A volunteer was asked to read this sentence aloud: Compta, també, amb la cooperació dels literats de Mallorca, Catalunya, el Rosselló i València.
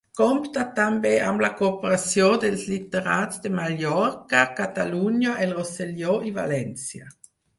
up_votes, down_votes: 4, 0